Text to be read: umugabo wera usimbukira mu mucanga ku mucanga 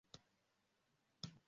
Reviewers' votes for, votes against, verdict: 0, 2, rejected